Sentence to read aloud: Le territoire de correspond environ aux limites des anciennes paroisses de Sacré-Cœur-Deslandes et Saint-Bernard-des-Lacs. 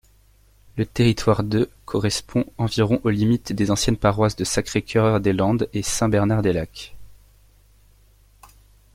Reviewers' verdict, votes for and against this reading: rejected, 1, 2